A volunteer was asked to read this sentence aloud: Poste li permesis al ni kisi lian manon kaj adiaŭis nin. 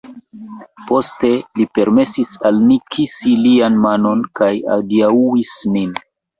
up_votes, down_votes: 1, 2